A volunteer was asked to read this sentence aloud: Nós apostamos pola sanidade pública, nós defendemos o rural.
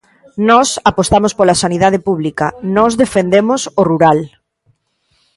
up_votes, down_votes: 2, 0